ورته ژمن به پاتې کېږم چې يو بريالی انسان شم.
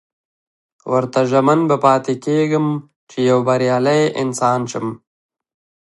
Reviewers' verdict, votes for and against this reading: accepted, 2, 1